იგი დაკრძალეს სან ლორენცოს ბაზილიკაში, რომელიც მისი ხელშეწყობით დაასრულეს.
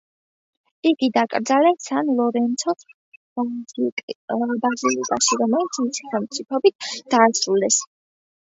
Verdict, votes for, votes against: rejected, 0, 2